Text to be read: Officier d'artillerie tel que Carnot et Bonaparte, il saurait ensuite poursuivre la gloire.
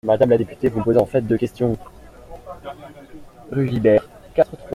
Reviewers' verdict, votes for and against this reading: rejected, 0, 2